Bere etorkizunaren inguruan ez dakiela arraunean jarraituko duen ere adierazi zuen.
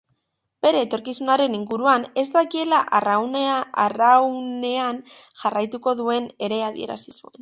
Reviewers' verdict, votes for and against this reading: rejected, 0, 2